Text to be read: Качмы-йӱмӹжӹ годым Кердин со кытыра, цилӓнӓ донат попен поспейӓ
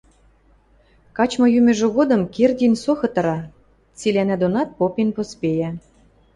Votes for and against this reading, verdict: 2, 0, accepted